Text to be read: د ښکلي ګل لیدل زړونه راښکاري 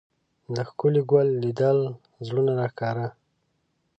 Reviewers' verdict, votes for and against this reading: rejected, 0, 2